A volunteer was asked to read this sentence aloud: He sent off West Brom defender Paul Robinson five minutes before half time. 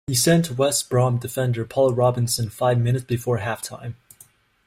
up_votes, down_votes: 1, 2